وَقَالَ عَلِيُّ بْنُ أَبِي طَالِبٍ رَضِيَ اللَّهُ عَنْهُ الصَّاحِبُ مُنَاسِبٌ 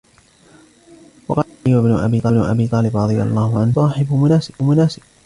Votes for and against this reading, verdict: 1, 2, rejected